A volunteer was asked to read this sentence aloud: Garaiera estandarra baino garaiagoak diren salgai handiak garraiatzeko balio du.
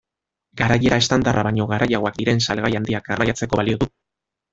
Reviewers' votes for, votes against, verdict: 1, 2, rejected